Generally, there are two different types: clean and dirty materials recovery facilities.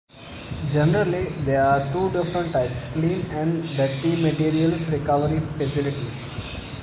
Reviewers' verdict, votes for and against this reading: accepted, 2, 1